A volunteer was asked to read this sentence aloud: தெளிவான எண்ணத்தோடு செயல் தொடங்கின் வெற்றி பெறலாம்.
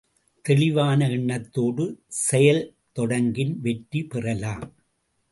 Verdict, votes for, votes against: accepted, 2, 0